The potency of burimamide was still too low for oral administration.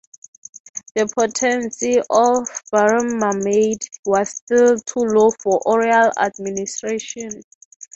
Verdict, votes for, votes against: accepted, 6, 3